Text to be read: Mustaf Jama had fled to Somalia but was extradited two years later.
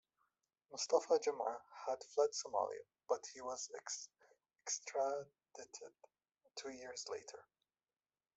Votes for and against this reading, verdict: 1, 2, rejected